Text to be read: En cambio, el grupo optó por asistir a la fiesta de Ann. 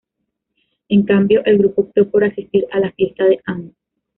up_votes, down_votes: 2, 0